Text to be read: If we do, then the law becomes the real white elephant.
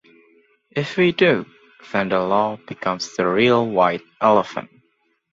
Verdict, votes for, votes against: accepted, 2, 0